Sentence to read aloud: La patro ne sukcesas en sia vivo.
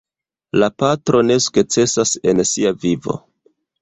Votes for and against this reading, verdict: 0, 2, rejected